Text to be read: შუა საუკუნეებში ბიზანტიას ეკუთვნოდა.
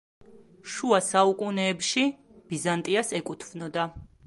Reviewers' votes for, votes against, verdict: 2, 0, accepted